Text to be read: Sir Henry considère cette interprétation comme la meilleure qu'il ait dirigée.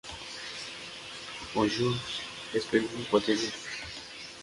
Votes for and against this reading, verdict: 0, 2, rejected